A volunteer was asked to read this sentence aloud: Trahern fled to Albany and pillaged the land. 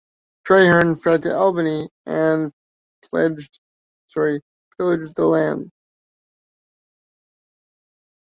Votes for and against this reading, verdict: 0, 2, rejected